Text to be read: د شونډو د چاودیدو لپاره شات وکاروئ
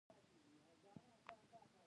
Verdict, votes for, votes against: rejected, 0, 2